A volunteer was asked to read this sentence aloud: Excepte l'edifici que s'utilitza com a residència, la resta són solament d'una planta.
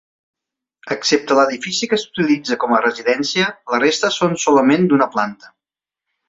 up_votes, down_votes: 4, 0